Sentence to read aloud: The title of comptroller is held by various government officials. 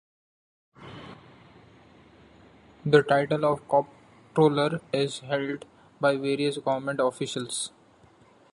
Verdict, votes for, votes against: rejected, 1, 2